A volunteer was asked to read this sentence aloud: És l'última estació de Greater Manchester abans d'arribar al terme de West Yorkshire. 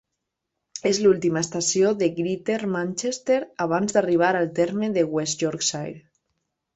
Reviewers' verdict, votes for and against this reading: accepted, 2, 1